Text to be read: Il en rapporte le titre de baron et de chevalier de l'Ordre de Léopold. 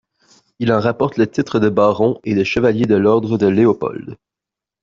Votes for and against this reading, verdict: 2, 0, accepted